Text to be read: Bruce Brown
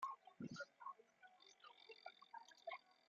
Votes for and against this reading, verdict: 0, 2, rejected